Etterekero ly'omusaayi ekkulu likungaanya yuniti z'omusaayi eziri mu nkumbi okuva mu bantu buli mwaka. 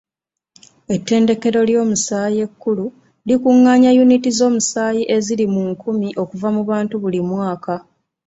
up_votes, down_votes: 2, 1